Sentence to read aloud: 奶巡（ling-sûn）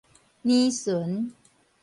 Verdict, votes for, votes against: accepted, 2, 0